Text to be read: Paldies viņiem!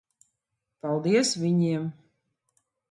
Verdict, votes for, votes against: accepted, 2, 0